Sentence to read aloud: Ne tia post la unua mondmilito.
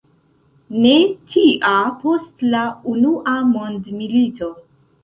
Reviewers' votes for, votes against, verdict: 2, 1, accepted